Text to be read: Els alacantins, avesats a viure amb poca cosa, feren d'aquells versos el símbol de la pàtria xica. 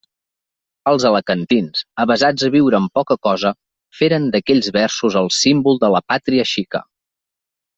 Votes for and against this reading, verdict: 3, 0, accepted